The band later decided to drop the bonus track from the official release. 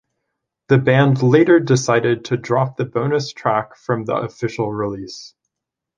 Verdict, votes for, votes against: accepted, 2, 0